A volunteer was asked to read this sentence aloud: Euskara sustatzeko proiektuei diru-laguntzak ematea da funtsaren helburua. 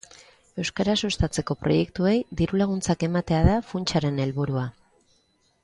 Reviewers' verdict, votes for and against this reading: accepted, 2, 1